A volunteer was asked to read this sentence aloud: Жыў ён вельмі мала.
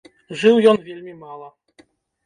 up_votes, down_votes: 0, 2